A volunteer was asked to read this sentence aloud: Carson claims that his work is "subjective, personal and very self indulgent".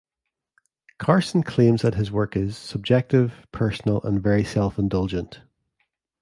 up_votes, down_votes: 2, 0